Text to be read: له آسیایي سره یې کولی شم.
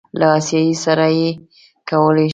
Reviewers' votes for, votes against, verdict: 0, 2, rejected